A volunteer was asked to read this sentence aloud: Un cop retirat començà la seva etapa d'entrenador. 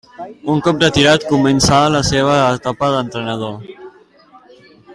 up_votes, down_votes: 1, 2